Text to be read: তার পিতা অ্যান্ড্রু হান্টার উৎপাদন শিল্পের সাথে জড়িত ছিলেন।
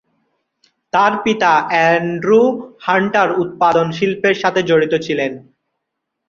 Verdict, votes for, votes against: accepted, 4, 0